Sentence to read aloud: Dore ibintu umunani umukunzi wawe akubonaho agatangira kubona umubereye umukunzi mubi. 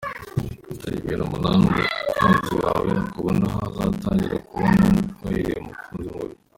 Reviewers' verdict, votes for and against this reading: rejected, 1, 2